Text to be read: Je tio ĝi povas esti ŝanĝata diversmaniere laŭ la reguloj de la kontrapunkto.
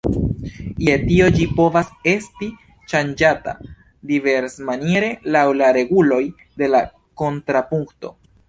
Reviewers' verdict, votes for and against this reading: rejected, 1, 2